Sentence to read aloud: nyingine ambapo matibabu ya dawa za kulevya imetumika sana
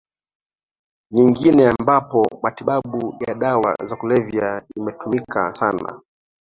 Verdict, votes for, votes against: accepted, 2, 1